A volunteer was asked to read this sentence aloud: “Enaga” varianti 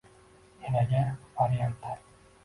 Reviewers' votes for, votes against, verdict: 0, 2, rejected